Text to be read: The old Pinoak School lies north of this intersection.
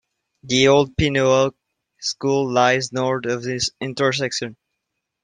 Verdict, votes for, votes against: accepted, 2, 0